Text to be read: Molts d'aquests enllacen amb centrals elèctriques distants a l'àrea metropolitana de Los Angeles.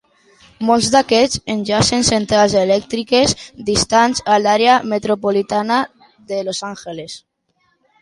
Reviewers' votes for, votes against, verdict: 1, 2, rejected